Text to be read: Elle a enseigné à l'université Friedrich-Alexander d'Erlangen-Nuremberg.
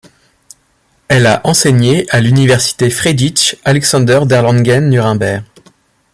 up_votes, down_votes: 1, 2